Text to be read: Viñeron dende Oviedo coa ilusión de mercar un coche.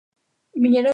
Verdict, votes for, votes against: rejected, 0, 2